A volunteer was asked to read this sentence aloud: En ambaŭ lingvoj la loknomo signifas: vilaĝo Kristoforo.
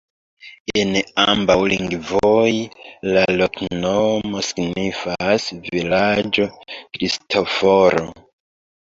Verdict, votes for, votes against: rejected, 1, 2